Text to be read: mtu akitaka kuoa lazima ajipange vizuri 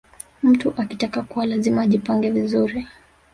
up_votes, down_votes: 1, 2